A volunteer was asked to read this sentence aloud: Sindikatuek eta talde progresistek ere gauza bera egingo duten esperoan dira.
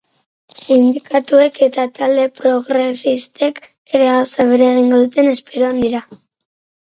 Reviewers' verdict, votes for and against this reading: rejected, 2, 2